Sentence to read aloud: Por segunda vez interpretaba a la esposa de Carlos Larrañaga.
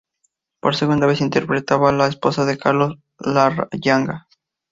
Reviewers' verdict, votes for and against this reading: rejected, 0, 2